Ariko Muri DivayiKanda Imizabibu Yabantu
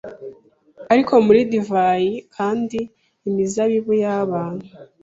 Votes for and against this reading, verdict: 1, 2, rejected